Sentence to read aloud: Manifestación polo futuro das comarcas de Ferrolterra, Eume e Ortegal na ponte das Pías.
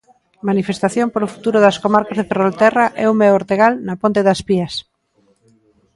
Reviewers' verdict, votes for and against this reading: rejected, 1, 2